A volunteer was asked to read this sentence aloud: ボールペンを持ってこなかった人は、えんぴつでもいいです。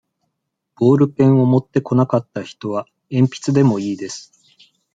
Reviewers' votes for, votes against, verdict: 2, 1, accepted